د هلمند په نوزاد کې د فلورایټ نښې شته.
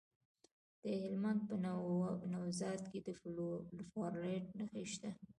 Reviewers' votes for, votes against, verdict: 1, 2, rejected